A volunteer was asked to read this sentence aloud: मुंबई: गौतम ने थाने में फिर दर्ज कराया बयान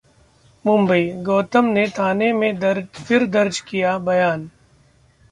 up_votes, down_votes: 0, 2